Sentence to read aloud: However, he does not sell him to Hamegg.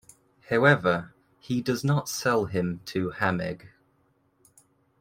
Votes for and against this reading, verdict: 2, 0, accepted